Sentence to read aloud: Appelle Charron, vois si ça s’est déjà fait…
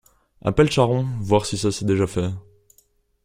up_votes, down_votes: 1, 2